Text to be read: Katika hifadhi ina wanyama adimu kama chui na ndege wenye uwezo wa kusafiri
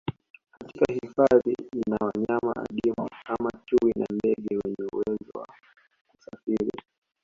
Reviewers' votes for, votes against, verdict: 1, 2, rejected